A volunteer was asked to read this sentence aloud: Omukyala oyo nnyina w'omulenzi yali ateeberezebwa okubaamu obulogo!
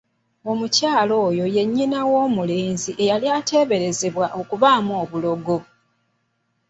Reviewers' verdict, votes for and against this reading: rejected, 1, 2